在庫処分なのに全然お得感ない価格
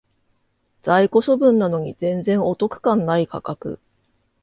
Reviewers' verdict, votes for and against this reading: accepted, 2, 0